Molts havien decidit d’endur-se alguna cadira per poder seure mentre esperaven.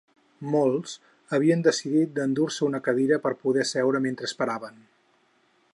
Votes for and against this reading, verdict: 0, 4, rejected